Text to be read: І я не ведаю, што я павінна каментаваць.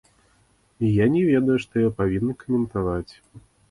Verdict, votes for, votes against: rejected, 1, 2